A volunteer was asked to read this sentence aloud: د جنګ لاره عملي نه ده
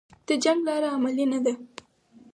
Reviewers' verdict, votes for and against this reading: rejected, 2, 4